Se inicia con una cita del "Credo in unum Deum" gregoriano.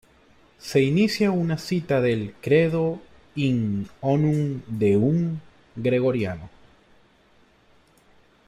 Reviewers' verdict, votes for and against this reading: rejected, 1, 2